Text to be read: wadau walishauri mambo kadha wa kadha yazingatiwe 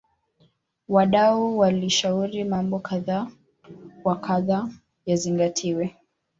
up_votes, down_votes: 2, 1